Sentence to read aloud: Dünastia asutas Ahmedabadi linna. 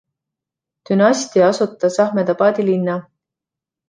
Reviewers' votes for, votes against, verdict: 2, 0, accepted